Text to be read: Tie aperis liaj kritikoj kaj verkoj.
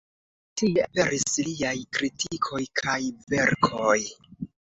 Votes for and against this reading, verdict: 2, 0, accepted